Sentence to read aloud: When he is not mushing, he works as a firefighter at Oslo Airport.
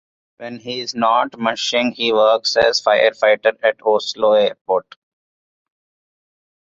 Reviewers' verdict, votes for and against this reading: rejected, 1, 2